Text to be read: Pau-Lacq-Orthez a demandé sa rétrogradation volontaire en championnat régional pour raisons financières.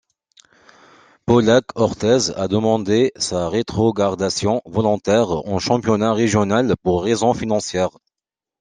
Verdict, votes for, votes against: rejected, 0, 2